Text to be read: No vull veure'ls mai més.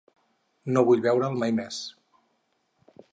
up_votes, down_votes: 0, 4